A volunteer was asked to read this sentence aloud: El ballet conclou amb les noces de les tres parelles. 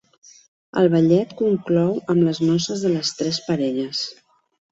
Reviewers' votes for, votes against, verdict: 1, 2, rejected